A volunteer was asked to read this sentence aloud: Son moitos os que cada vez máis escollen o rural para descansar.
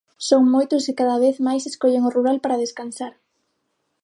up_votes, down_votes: 0, 6